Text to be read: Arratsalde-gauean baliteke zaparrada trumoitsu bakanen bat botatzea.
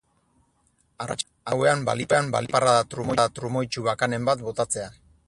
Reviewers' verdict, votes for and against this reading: rejected, 0, 4